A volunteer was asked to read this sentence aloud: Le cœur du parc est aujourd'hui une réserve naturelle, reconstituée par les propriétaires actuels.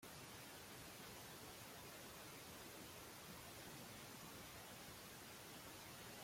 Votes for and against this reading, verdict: 0, 2, rejected